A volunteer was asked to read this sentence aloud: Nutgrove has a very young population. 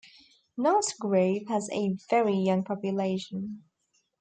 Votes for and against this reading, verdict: 2, 0, accepted